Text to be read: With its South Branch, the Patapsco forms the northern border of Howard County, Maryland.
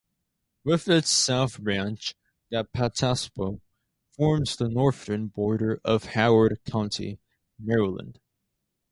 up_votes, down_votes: 0, 2